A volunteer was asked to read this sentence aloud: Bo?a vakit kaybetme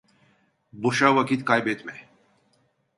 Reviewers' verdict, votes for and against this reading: rejected, 0, 2